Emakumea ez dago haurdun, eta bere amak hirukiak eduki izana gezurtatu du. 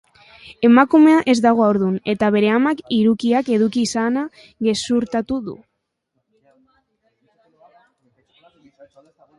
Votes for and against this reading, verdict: 2, 0, accepted